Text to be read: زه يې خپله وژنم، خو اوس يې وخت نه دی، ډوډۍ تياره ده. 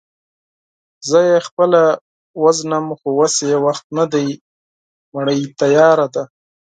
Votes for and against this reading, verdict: 0, 4, rejected